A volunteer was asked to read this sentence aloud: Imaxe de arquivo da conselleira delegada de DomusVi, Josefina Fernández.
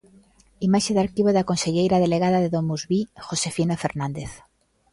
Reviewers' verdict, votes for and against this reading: accepted, 2, 0